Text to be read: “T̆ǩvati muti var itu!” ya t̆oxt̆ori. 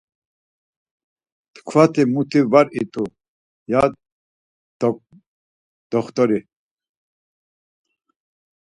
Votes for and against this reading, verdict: 0, 4, rejected